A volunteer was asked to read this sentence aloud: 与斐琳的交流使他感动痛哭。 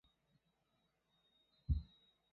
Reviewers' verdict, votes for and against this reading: rejected, 0, 2